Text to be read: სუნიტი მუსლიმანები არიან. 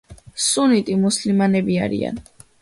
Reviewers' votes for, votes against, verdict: 2, 0, accepted